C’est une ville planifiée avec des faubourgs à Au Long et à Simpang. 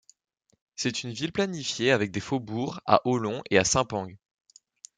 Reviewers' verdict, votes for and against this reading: accepted, 2, 1